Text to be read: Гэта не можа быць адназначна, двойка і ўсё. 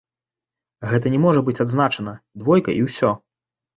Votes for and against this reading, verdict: 0, 2, rejected